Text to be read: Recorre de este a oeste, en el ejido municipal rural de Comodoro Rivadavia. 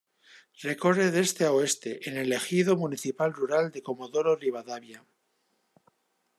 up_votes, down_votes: 2, 0